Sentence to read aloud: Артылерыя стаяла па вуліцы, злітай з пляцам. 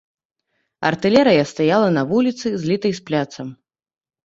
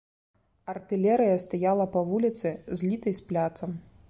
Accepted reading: second